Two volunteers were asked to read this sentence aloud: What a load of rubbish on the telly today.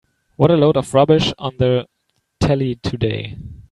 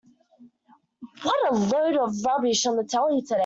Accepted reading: first